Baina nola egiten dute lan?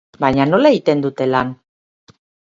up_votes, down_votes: 2, 4